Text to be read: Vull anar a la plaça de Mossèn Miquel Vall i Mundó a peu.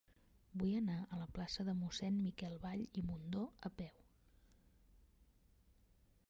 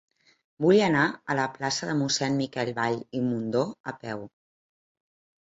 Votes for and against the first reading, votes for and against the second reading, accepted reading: 1, 3, 2, 0, second